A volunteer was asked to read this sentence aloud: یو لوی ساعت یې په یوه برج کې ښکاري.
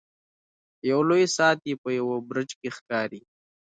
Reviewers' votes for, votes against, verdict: 2, 1, accepted